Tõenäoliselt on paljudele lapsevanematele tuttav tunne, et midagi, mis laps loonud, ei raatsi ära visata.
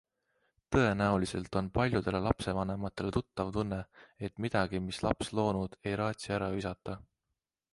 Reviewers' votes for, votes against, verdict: 2, 0, accepted